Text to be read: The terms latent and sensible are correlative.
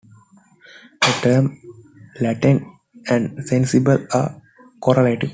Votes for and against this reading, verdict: 2, 1, accepted